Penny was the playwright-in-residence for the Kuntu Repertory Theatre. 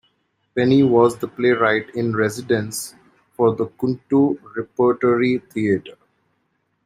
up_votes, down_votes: 2, 0